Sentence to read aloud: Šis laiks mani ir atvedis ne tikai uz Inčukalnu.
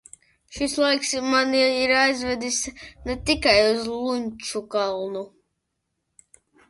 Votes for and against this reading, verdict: 0, 2, rejected